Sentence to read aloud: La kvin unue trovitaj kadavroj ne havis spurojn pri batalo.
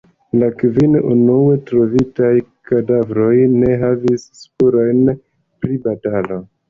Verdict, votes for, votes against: accepted, 2, 0